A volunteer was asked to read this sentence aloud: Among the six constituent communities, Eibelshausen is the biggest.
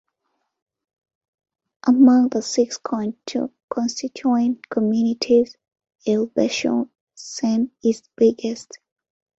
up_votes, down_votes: 2, 3